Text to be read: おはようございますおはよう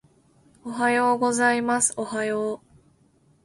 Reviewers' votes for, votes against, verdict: 2, 0, accepted